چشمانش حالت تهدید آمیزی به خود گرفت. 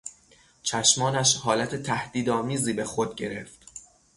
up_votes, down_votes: 3, 3